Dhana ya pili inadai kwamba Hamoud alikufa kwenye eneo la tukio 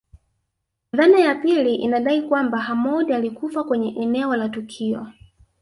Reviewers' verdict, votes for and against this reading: rejected, 1, 2